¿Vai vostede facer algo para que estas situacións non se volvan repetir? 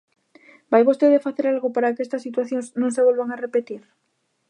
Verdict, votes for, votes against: rejected, 0, 2